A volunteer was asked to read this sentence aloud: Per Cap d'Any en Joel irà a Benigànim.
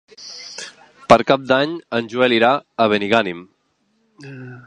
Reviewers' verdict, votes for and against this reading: accepted, 2, 0